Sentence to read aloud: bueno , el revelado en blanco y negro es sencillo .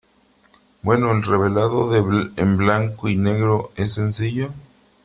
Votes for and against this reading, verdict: 2, 3, rejected